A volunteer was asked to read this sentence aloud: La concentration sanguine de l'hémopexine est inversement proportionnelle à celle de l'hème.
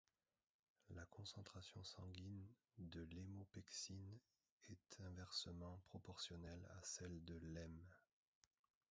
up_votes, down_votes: 0, 2